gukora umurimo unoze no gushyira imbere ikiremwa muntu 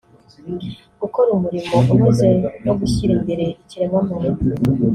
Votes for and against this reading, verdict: 0, 2, rejected